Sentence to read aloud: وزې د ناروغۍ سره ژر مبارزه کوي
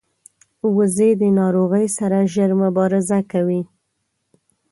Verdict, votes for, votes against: accepted, 2, 0